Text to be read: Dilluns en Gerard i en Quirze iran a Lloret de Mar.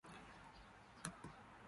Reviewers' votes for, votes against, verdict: 1, 2, rejected